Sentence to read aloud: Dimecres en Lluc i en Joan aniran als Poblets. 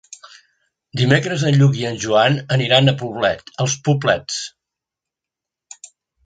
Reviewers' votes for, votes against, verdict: 0, 2, rejected